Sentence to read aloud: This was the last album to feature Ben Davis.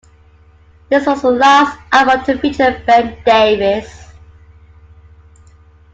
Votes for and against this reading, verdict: 2, 1, accepted